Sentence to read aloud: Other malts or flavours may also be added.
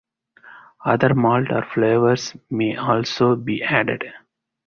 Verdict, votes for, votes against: rejected, 2, 2